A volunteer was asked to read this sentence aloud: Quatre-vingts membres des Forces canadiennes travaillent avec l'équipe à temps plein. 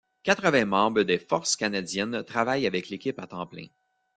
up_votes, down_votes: 2, 0